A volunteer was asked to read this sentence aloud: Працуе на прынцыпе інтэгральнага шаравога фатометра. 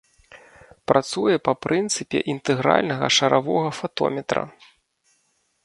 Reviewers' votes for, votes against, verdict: 1, 3, rejected